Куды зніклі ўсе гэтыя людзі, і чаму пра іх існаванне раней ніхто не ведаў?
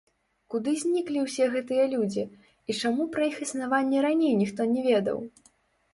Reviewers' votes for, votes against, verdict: 0, 2, rejected